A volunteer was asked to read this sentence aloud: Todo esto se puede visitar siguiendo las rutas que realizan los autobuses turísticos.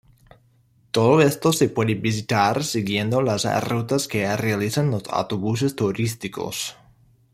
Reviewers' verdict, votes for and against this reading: accepted, 2, 0